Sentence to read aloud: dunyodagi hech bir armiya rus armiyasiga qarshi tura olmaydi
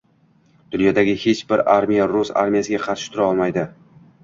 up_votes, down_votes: 1, 2